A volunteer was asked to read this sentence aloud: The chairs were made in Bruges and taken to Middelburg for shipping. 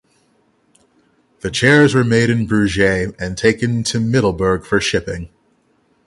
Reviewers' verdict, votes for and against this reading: rejected, 3, 3